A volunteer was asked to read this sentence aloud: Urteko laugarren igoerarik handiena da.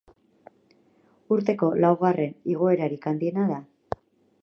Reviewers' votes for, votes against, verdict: 6, 0, accepted